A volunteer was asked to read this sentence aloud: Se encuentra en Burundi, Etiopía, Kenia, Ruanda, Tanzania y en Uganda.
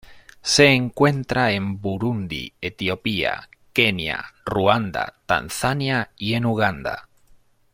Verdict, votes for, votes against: accepted, 2, 0